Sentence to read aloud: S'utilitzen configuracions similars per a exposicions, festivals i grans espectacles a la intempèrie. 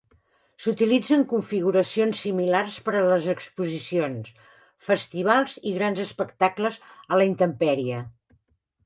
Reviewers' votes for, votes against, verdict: 0, 2, rejected